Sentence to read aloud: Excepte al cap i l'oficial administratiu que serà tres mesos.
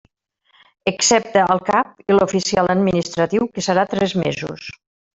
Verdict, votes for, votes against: rejected, 1, 2